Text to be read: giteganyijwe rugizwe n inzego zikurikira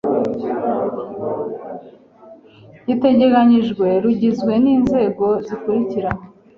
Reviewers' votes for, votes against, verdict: 0, 2, rejected